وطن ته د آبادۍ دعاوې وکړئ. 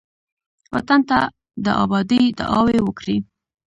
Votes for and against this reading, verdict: 1, 2, rejected